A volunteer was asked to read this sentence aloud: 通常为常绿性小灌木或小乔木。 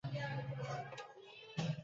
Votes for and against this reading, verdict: 0, 3, rejected